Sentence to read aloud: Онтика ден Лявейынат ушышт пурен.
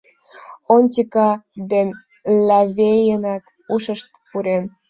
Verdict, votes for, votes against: rejected, 1, 3